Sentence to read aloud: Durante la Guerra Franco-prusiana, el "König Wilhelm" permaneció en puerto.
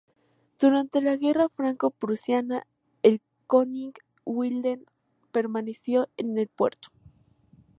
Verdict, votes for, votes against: accepted, 2, 0